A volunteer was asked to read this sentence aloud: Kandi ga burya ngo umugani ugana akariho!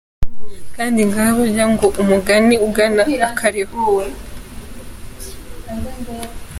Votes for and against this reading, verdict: 2, 1, accepted